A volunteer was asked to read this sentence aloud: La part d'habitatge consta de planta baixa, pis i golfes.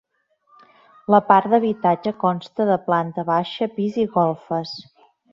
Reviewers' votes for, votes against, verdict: 2, 0, accepted